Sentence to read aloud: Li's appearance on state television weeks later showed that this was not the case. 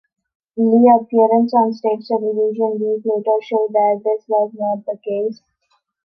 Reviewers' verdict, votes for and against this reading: rejected, 0, 2